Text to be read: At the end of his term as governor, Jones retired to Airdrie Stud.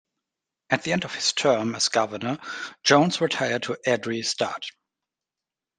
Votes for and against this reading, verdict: 2, 0, accepted